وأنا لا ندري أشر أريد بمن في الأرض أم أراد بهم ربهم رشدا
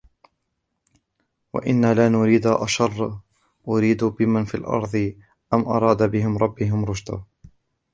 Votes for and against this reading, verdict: 0, 2, rejected